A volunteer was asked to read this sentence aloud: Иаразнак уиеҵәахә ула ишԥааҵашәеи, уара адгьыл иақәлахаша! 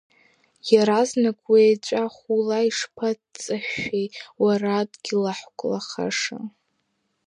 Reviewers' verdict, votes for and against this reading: rejected, 0, 2